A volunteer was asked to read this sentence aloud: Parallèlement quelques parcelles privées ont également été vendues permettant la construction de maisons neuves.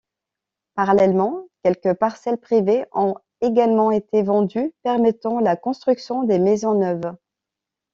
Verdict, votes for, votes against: rejected, 1, 2